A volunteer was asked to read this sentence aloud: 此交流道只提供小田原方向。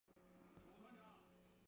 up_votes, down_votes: 0, 2